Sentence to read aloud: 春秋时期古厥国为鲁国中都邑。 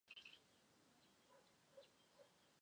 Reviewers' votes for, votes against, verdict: 0, 4, rejected